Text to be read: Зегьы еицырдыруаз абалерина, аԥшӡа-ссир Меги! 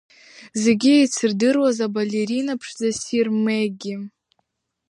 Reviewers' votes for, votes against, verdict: 2, 0, accepted